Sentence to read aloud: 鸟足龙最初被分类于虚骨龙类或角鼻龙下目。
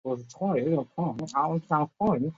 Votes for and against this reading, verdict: 1, 4, rejected